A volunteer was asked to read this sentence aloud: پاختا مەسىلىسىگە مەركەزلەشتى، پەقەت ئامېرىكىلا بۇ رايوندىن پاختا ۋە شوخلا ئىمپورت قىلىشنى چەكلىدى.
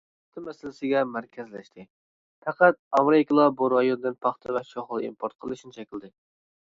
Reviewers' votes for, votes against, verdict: 2, 0, accepted